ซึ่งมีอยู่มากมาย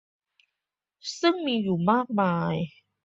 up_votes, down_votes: 2, 0